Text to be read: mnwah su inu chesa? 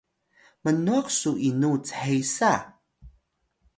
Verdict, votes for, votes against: accepted, 2, 0